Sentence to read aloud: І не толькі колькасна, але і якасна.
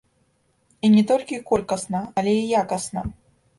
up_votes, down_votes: 0, 2